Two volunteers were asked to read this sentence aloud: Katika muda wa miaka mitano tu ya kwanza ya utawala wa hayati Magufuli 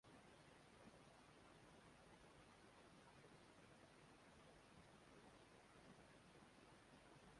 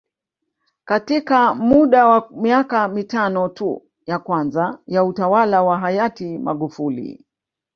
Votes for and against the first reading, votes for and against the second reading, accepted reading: 0, 2, 3, 0, second